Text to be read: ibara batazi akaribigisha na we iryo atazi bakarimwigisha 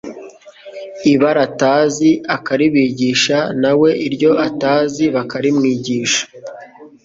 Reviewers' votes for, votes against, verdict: 2, 0, accepted